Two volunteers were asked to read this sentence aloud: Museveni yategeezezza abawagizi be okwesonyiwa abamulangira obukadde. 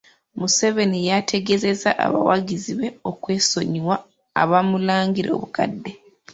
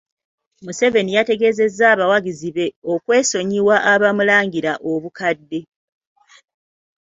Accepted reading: second